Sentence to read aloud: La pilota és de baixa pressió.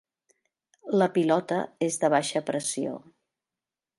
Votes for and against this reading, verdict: 3, 0, accepted